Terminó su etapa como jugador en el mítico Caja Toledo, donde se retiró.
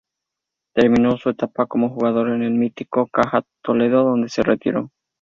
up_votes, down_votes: 2, 0